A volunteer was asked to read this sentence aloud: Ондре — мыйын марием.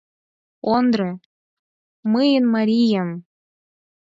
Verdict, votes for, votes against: rejected, 0, 4